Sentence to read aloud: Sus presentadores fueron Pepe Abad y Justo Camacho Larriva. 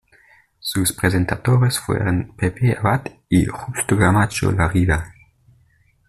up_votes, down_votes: 2, 0